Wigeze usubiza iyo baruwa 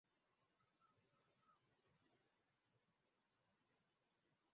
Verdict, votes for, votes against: rejected, 0, 2